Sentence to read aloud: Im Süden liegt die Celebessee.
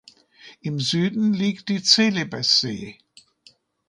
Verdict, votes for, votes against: accepted, 2, 0